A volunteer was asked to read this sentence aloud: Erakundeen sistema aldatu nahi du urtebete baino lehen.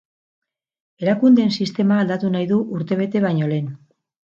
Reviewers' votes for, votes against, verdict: 6, 0, accepted